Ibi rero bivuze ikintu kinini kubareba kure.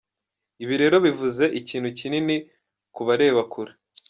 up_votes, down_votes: 2, 0